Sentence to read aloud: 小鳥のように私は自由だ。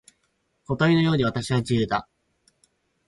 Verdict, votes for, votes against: accepted, 4, 2